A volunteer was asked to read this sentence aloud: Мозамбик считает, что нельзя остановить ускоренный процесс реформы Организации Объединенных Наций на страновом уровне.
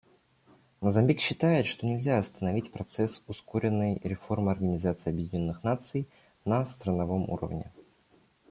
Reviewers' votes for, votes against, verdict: 0, 2, rejected